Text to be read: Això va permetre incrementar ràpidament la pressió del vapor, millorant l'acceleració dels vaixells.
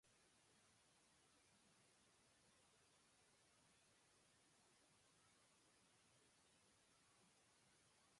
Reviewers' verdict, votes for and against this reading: rejected, 0, 3